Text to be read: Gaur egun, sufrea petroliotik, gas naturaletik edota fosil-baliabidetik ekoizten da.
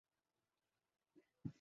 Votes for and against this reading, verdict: 0, 2, rejected